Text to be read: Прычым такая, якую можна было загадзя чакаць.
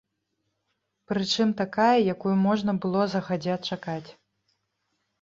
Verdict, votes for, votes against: rejected, 1, 2